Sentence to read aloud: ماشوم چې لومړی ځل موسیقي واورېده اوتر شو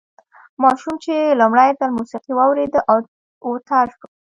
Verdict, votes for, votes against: rejected, 1, 2